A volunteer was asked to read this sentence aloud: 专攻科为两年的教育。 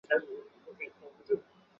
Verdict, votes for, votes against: rejected, 0, 4